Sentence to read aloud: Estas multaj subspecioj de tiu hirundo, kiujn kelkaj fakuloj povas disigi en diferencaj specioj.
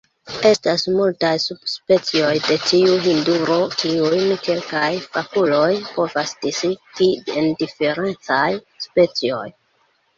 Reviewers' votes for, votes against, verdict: 0, 2, rejected